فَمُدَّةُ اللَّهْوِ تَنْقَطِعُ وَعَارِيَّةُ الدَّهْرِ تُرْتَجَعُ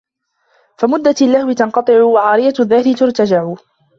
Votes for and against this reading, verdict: 1, 2, rejected